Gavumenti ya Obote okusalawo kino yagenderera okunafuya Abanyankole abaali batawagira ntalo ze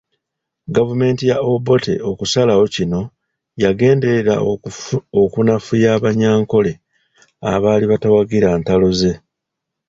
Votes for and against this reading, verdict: 0, 2, rejected